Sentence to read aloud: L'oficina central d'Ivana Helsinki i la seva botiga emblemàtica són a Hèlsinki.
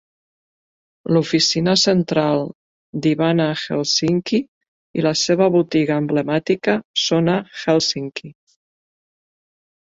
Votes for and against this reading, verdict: 2, 0, accepted